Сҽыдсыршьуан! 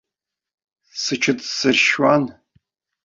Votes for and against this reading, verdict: 0, 2, rejected